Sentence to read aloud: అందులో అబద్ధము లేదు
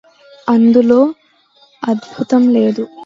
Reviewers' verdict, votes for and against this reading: rejected, 0, 2